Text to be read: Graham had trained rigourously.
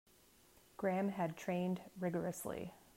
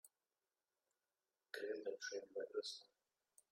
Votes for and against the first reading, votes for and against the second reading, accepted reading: 2, 0, 1, 2, first